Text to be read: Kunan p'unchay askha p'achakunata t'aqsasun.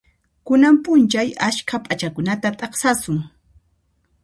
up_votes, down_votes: 2, 0